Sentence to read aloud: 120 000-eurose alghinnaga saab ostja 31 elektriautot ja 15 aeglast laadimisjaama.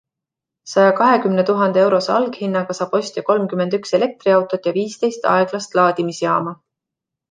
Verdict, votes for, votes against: rejected, 0, 2